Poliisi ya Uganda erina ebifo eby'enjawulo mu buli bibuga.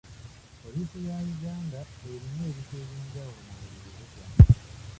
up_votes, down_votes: 0, 2